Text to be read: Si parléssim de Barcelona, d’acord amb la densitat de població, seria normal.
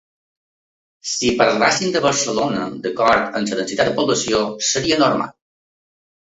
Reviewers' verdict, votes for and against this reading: rejected, 0, 2